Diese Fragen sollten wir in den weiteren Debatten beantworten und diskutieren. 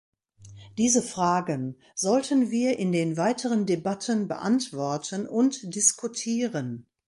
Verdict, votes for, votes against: accepted, 2, 0